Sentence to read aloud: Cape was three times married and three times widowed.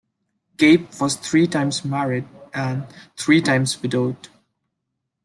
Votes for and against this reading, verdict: 2, 0, accepted